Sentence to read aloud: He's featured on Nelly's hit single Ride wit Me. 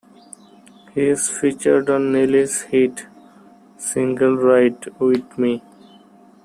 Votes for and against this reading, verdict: 1, 2, rejected